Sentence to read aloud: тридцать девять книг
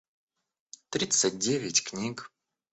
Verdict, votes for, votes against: accepted, 2, 1